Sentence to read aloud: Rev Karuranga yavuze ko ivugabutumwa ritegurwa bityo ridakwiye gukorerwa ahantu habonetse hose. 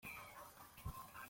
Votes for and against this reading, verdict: 0, 2, rejected